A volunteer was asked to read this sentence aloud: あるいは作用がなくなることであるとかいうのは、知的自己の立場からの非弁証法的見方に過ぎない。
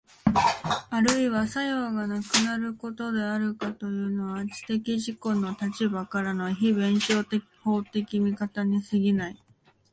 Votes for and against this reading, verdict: 1, 2, rejected